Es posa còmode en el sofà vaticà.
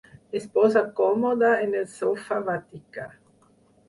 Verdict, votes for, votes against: rejected, 0, 4